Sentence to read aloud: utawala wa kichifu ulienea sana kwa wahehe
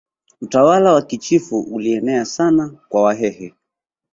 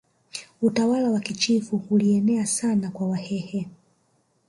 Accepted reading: first